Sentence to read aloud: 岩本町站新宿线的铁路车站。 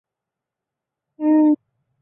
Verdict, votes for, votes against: rejected, 0, 4